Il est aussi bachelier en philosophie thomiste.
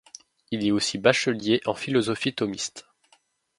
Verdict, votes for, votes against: accepted, 2, 0